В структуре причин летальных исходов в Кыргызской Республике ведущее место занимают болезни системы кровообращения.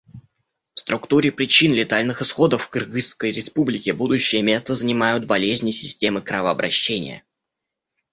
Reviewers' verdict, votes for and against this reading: rejected, 0, 2